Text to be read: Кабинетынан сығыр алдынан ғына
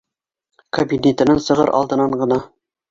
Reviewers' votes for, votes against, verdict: 1, 2, rejected